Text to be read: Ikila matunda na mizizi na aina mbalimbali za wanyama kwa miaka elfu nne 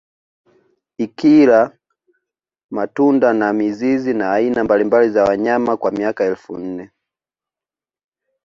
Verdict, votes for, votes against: accepted, 2, 0